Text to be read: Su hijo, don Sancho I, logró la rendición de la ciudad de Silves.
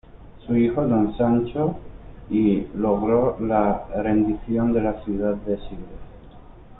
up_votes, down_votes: 0, 2